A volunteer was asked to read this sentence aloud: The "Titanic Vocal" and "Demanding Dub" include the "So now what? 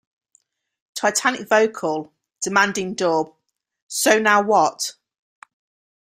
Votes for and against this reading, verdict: 2, 1, accepted